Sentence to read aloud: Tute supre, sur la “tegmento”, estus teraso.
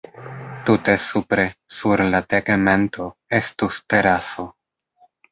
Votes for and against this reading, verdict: 0, 2, rejected